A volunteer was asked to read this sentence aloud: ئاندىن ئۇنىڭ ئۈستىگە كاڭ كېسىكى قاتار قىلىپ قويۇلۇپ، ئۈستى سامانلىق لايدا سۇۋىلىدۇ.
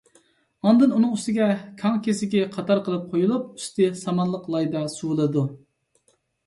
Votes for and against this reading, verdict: 2, 0, accepted